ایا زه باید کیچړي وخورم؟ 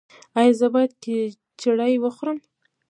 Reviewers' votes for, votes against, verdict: 1, 2, rejected